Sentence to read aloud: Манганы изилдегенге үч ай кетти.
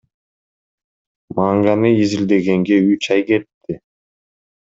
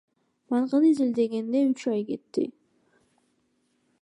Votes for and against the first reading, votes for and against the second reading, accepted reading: 2, 0, 1, 2, first